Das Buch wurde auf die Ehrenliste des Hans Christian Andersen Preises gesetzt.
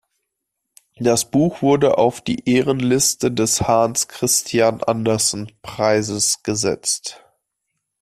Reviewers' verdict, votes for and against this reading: rejected, 0, 2